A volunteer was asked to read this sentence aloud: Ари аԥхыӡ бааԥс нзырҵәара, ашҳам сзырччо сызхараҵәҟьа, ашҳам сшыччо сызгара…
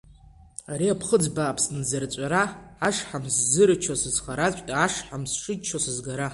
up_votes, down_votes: 2, 0